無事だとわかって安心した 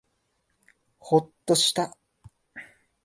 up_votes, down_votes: 0, 2